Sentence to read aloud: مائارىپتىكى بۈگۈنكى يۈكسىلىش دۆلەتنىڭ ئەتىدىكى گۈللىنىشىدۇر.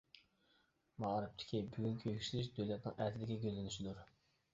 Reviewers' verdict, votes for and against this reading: accepted, 2, 1